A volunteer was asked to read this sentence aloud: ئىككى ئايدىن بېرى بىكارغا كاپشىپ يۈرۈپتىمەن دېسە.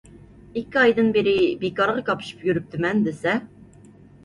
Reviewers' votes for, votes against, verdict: 2, 0, accepted